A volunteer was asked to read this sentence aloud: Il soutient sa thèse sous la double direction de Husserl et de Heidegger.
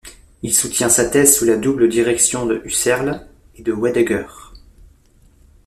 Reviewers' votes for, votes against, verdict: 1, 2, rejected